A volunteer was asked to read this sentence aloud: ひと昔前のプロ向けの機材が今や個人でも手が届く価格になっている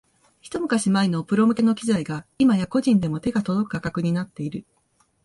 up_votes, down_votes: 2, 1